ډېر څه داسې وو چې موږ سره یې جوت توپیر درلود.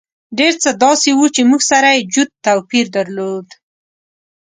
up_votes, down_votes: 0, 2